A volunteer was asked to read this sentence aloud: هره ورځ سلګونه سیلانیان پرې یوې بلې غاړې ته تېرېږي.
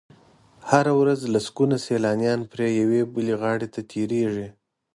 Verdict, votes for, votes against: rejected, 1, 2